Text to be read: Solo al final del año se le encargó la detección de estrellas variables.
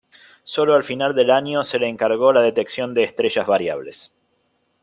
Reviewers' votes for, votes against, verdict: 2, 0, accepted